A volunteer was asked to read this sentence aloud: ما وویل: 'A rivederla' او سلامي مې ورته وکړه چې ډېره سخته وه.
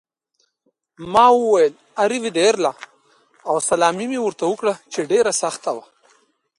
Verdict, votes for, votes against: rejected, 1, 2